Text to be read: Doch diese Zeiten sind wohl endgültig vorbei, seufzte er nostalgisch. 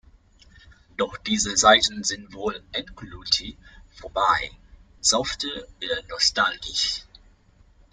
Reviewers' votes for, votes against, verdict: 1, 2, rejected